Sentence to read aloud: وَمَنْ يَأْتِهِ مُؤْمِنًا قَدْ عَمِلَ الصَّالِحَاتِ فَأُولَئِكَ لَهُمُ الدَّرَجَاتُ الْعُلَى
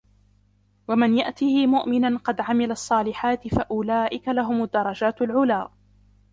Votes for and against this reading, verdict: 0, 2, rejected